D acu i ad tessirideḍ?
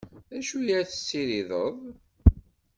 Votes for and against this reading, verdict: 2, 0, accepted